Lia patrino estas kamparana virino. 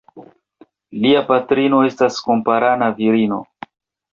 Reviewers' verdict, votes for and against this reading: rejected, 0, 2